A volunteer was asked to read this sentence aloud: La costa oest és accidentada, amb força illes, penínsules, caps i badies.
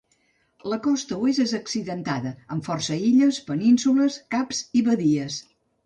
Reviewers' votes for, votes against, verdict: 2, 0, accepted